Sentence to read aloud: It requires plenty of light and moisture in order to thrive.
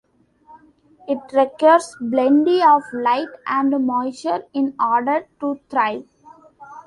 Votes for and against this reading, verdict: 1, 2, rejected